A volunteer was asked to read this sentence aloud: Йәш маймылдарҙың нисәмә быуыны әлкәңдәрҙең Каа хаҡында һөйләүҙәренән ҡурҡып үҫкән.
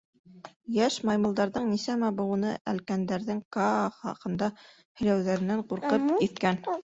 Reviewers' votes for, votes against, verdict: 1, 2, rejected